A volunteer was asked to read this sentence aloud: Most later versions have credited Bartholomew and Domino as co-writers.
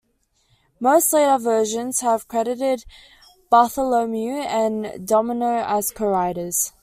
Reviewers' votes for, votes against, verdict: 2, 0, accepted